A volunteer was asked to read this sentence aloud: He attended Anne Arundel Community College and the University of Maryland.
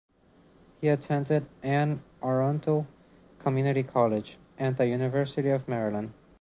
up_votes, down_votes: 2, 3